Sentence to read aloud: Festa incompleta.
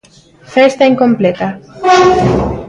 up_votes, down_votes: 1, 2